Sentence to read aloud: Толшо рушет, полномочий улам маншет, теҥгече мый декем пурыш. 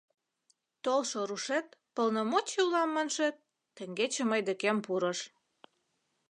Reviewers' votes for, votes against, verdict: 2, 0, accepted